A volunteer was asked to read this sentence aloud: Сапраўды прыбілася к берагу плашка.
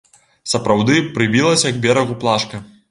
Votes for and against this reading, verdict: 2, 0, accepted